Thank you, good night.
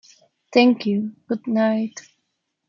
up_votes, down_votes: 2, 1